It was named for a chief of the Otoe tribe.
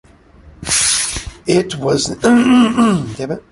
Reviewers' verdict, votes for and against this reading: rejected, 0, 2